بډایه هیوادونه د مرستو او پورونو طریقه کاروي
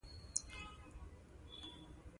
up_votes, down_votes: 1, 2